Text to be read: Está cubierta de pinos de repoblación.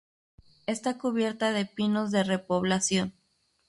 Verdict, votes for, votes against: rejected, 0, 2